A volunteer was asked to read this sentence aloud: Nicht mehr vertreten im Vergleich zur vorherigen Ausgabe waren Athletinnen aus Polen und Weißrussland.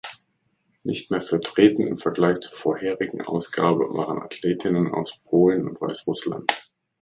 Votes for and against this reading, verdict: 1, 2, rejected